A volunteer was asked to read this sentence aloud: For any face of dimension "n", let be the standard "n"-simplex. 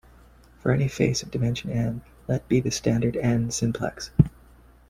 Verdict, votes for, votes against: accepted, 2, 1